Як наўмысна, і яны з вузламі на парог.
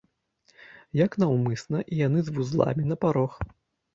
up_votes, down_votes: 2, 0